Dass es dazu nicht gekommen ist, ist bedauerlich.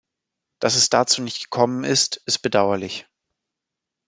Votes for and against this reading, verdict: 2, 0, accepted